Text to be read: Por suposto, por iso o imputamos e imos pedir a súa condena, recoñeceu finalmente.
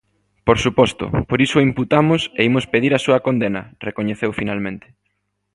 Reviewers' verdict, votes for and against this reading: accepted, 3, 0